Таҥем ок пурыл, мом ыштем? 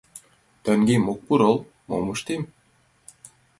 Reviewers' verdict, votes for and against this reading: accepted, 2, 1